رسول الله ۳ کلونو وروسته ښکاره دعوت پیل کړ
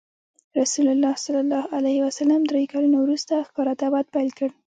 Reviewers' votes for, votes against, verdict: 0, 2, rejected